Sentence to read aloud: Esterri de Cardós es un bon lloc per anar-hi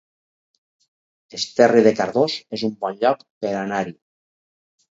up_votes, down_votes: 4, 0